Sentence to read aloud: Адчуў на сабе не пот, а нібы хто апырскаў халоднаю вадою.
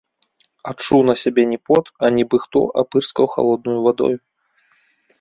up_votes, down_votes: 2, 1